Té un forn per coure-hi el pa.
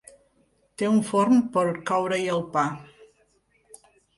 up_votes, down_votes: 3, 0